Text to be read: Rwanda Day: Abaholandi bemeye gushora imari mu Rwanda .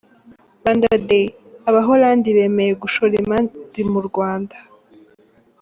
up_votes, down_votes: 2, 0